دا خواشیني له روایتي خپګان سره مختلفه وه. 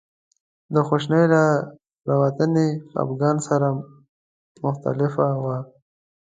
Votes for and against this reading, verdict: 0, 2, rejected